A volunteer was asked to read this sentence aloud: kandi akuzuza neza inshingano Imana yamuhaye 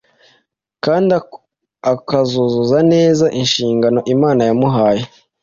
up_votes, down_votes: 1, 2